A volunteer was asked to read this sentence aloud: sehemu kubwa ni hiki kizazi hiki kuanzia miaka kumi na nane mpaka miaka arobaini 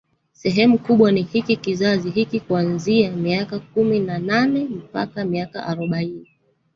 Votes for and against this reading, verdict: 0, 2, rejected